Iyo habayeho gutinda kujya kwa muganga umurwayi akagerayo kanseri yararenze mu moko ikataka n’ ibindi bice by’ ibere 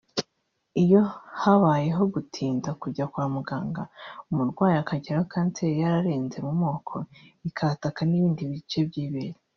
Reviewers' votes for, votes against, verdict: 1, 2, rejected